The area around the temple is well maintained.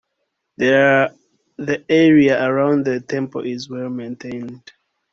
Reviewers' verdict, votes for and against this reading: rejected, 1, 2